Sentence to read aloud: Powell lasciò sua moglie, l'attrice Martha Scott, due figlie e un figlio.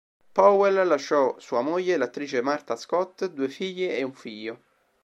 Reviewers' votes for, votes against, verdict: 2, 0, accepted